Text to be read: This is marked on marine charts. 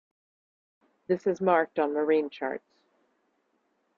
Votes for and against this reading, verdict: 3, 1, accepted